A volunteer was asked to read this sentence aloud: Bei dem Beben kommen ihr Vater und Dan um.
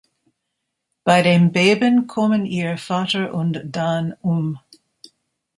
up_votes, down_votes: 2, 0